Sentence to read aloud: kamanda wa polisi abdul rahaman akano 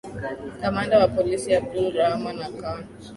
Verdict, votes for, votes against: rejected, 1, 2